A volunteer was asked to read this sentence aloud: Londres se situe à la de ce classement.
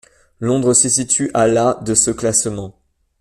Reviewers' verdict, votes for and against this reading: rejected, 1, 2